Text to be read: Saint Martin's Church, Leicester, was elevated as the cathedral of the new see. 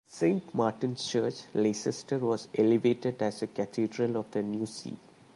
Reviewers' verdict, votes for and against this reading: accepted, 2, 1